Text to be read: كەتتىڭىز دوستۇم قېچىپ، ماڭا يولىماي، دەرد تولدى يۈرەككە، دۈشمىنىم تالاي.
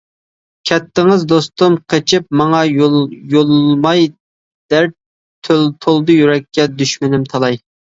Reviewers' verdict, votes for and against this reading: rejected, 1, 2